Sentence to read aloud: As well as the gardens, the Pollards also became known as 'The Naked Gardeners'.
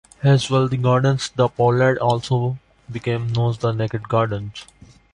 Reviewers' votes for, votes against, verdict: 0, 2, rejected